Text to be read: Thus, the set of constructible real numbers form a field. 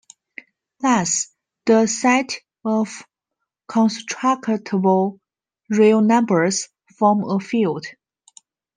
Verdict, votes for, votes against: rejected, 0, 2